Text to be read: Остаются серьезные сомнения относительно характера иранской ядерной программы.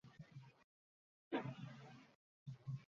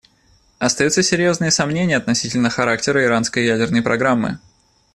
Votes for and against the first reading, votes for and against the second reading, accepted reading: 0, 2, 2, 0, second